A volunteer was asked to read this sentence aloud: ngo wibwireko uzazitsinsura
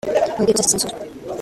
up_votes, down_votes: 0, 2